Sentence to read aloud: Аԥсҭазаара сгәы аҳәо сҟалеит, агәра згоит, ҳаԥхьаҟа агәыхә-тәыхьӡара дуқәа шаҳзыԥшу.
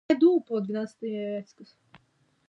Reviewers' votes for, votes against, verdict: 0, 2, rejected